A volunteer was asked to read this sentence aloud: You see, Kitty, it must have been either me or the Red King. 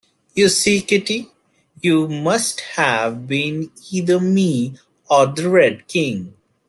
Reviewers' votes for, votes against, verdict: 0, 2, rejected